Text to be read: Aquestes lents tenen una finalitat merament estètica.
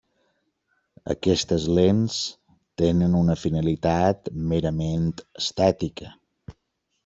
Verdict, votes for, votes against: accepted, 3, 0